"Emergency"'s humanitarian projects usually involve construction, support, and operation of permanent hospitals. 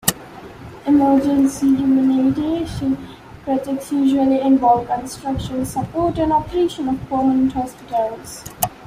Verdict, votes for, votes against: rejected, 0, 2